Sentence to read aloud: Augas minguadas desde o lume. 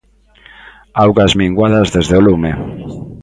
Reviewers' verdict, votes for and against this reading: accepted, 2, 0